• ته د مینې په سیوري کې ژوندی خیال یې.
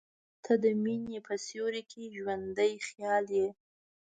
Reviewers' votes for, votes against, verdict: 1, 2, rejected